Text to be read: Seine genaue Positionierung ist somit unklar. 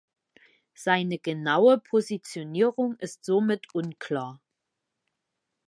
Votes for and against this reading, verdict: 2, 0, accepted